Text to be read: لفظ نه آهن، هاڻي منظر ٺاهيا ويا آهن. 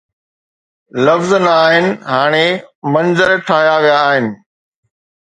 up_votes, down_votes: 2, 0